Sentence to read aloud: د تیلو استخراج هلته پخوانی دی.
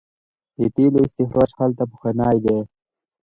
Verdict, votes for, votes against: accepted, 2, 0